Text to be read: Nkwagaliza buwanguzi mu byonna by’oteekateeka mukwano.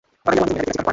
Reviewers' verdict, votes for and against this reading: rejected, 1, 2